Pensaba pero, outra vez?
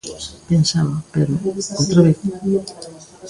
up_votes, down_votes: 1, 2